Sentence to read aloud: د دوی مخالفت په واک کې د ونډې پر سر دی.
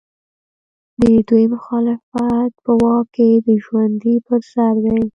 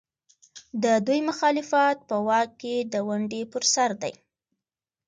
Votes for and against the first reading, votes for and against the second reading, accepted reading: 0, 2, 2, 0, second